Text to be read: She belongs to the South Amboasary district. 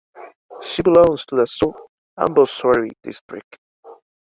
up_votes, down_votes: 2, 1